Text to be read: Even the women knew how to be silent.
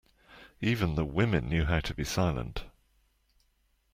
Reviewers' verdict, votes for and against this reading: accepted, 2, 0